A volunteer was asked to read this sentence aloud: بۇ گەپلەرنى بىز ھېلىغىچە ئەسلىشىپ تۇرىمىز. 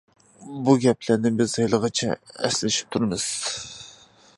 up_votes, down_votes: 2, 0